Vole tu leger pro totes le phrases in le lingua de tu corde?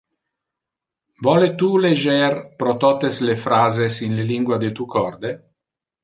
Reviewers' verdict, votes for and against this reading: rejected, 1, 2